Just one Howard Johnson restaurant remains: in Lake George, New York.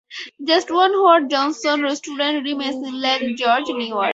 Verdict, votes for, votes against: rejected, 0, 2